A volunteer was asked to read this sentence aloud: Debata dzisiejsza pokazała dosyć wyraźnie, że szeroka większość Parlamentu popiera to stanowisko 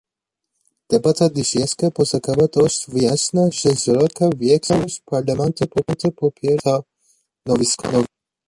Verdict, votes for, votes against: rejected, 0, 2